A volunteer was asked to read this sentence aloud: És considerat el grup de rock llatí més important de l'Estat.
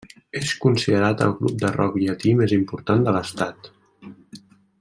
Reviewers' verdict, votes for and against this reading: accepted, 2, 0